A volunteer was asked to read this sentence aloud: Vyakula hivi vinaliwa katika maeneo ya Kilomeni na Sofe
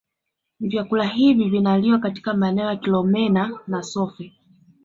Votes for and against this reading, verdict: 2, 0, accepted